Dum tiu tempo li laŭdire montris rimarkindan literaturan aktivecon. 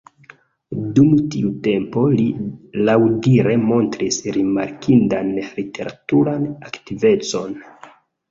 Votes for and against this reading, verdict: 2, 0, accepted